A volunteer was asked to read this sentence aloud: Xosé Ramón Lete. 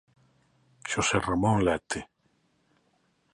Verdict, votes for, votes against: accepted, 2, 0